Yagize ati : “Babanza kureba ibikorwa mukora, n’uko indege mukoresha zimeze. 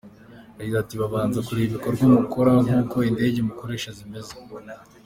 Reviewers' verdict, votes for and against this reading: accepted, 2, 0